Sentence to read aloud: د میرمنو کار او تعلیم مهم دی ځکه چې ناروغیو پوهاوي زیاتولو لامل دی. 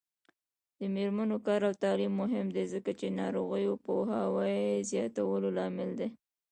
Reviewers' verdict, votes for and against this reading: rejected, 0, 2